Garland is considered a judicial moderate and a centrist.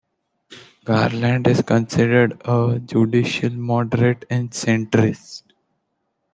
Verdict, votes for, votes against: rejected, 1, 2